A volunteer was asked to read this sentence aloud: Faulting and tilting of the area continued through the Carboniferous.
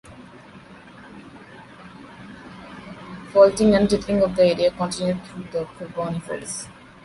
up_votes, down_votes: 2, 1